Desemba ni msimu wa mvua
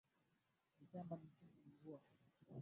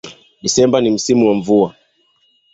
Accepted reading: second